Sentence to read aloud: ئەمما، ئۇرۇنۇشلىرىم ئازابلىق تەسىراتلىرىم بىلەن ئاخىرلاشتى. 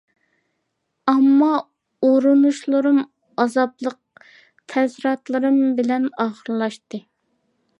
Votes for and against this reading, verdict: 2, 1, accepted